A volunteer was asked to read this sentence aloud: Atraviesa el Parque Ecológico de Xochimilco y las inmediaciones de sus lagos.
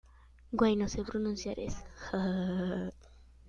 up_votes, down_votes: 0, 2